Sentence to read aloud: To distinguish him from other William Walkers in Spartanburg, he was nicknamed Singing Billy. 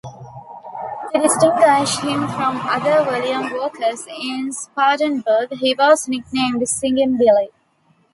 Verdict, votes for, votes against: accepted, 2, 0